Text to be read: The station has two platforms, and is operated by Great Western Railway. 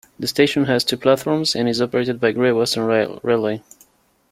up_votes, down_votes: 0, 3